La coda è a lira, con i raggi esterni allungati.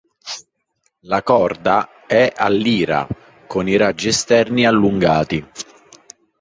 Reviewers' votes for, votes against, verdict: 1, 2, rejected